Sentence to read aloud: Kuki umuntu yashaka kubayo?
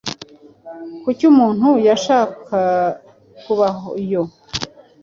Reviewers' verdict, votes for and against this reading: accepted, 2, 0